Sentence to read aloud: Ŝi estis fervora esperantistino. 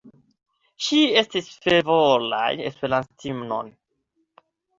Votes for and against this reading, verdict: 1, 2, rejected